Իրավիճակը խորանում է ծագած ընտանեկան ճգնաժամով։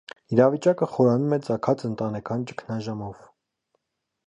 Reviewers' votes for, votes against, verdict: 2, 0, accepted